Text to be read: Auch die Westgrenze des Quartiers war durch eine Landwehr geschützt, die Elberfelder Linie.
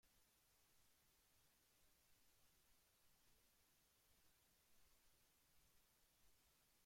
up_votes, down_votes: 0, 2